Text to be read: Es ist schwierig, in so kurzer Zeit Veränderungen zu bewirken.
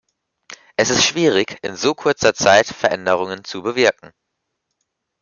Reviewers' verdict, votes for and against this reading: accepted, 2, 0